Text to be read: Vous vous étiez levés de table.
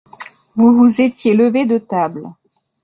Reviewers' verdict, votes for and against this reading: accepted, 2, 0